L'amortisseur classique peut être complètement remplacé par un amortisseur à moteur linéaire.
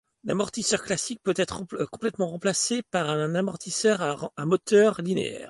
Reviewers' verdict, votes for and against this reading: rejected, 1, 2